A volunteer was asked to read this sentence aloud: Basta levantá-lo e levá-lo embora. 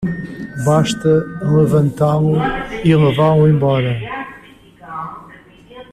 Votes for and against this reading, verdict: 1, 2, rejected